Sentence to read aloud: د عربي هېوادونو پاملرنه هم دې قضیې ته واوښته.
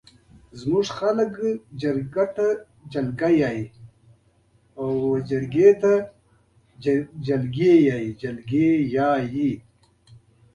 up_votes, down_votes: 1, 2